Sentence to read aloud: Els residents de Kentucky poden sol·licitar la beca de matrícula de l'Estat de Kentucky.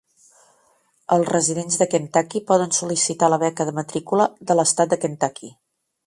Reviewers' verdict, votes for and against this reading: accepted, 3, 0